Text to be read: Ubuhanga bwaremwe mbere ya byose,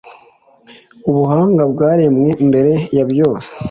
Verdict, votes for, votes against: accepted, 2, 0